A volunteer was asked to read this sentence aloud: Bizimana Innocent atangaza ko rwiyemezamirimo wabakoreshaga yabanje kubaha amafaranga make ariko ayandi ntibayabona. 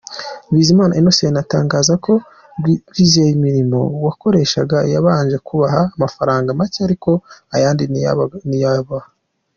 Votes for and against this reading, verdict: 0, 2, rejected